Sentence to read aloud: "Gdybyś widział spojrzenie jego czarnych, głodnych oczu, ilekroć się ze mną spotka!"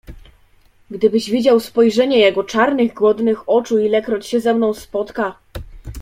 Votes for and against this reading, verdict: 3, 0, accepted